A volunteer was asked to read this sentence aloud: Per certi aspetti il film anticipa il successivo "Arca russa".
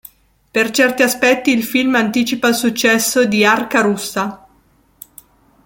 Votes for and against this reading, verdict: 1, 2, rejected